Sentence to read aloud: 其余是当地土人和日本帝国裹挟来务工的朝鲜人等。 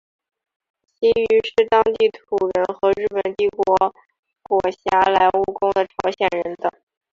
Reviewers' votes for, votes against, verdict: 2, 2, rejected